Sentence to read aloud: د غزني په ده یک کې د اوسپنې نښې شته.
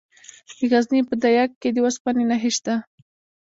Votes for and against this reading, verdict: 0, 2, rejected